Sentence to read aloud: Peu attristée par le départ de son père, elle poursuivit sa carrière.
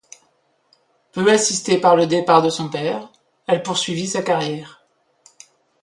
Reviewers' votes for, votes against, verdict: 1, 2, rejected